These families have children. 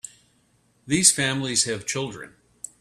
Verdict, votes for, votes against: accepted, 2, 0